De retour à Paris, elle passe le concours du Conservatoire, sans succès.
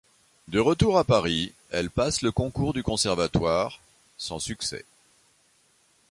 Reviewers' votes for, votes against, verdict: 2, 0, accepted